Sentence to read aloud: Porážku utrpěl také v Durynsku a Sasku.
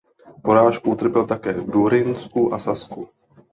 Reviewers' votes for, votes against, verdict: 2, 0, accepted